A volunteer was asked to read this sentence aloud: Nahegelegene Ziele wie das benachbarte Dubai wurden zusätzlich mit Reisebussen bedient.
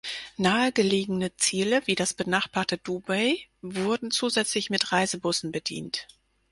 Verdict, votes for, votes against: accepted, 4, 0